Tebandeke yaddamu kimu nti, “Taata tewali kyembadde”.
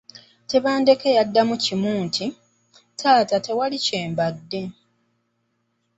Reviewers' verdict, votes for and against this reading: accepted, 2, 0